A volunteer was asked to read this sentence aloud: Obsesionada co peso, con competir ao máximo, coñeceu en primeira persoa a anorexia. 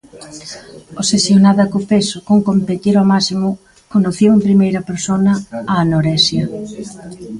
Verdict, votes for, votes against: rejected, 0, 2